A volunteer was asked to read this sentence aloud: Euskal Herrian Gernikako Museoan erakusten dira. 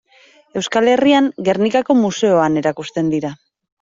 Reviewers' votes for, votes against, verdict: 0, 2, rejected